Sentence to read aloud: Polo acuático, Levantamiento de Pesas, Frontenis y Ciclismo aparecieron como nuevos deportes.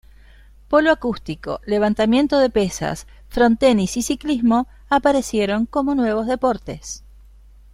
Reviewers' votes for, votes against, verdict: 0, 3, rejected